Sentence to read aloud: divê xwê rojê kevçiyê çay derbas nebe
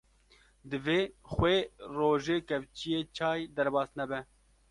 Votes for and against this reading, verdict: 2, 0, accepted